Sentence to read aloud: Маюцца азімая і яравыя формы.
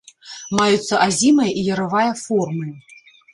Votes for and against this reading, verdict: 0, 3, rejected